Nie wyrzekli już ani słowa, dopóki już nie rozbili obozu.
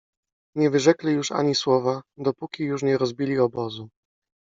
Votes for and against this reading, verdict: 2, 1, accepted